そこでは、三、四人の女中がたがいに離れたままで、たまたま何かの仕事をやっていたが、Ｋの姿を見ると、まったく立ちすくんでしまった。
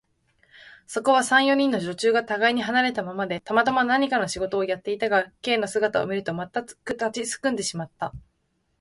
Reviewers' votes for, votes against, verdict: 2, 0, accepted